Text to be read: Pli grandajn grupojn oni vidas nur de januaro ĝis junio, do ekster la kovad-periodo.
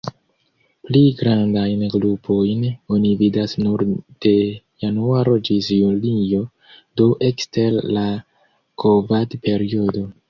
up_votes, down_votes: 0, 2